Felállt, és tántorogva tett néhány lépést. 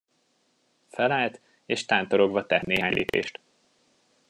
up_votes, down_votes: 0, 2